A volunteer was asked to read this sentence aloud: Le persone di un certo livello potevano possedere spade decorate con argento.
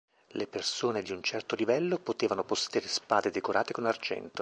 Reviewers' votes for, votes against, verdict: 1, 2, rejected